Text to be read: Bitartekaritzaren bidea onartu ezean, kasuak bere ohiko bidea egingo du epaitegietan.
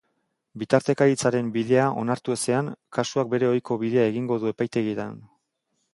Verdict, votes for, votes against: accepted, 3, 0